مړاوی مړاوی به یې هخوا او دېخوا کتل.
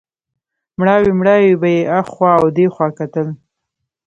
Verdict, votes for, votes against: rejected, 1, 2